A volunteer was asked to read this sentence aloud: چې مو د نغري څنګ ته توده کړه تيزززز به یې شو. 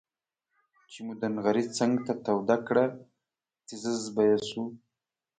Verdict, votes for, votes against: accepted, 2, 0